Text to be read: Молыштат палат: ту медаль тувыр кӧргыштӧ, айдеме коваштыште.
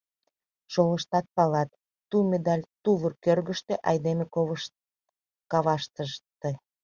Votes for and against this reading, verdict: 0, 2, rejected